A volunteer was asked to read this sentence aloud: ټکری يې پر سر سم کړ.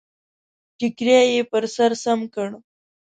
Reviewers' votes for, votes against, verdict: 2, 0, accepted